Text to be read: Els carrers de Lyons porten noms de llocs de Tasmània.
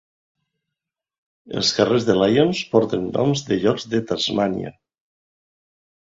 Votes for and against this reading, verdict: 2, 1, accepted